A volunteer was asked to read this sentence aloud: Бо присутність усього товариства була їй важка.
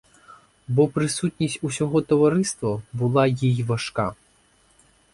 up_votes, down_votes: 4, 0